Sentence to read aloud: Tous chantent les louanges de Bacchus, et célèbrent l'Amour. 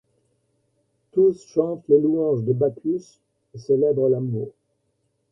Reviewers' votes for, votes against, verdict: 0, 2, rejected